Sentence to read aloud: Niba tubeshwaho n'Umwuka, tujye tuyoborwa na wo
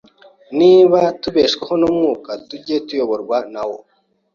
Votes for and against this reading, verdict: 2, 0, accepted